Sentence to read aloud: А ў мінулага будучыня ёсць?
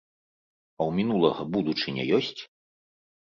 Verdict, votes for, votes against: accepted, 2, 0